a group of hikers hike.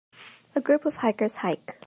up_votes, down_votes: 2, 0